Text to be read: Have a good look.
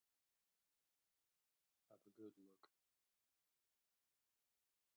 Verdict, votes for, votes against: rejected, 1, 2